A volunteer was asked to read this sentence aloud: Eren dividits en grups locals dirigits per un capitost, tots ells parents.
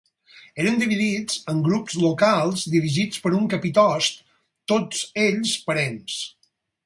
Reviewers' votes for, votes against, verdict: 4, 0, accepted